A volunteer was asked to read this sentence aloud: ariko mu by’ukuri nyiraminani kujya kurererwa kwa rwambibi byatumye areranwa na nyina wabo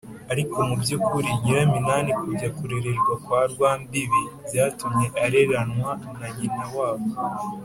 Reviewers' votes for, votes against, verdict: 4, 1, accepted